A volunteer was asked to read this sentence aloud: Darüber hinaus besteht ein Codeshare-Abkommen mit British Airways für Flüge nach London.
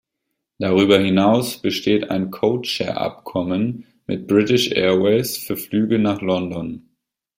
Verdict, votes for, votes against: accepted, 2, 0